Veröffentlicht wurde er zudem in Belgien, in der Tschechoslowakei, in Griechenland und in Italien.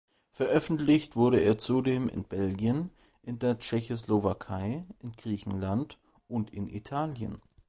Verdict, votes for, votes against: accepted, 2, 0